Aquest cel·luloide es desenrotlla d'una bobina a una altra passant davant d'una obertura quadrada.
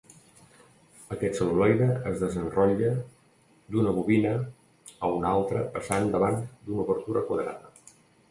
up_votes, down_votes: 1, 2